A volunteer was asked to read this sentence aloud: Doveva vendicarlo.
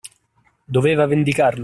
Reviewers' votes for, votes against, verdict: 2, 1, accepted